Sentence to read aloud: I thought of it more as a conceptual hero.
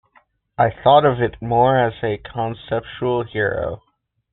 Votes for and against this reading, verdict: 2, 0, accepted